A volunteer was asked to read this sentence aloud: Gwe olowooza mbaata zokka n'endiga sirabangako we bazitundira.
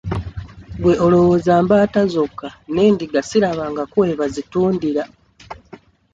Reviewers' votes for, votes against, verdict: 2, 0, accepted